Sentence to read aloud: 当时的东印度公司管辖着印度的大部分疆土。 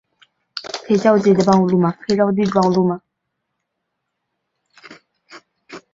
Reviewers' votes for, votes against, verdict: 0, 2, rejected